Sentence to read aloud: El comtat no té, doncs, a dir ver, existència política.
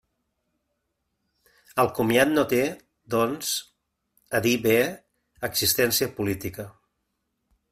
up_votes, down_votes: 0, 2